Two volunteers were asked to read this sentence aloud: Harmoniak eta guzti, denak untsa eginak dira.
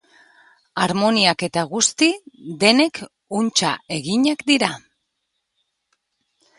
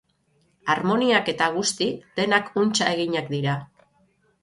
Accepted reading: second